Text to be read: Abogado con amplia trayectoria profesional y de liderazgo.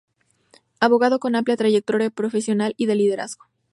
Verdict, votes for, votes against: rejected, 0, 2